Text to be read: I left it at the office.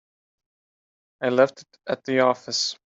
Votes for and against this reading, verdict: 1, 2, rejected